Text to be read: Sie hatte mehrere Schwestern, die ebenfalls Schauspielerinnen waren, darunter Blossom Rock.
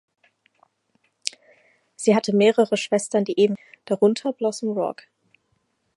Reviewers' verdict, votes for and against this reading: rejected, 0, 4